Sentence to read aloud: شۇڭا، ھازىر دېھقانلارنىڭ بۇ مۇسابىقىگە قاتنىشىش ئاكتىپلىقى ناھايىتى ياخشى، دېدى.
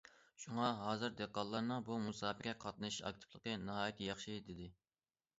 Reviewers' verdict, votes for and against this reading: accepted, 2, 0